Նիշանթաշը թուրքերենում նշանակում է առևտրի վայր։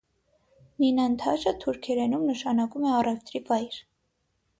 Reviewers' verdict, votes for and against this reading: rejected, 3, 6